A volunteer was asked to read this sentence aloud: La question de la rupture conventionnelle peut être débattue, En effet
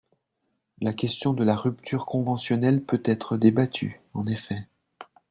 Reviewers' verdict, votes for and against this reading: accepted, 3, 0